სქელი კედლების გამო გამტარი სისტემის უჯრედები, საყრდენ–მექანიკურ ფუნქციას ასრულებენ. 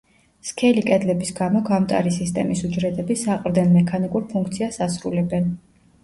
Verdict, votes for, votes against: accepted, 2, 0